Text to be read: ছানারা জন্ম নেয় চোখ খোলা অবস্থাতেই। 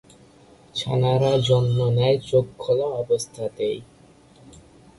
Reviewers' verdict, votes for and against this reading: rejected, 1, 2